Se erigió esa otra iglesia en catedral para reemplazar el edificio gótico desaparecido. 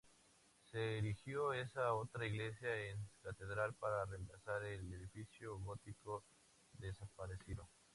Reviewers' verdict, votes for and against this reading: accepted, 2, 0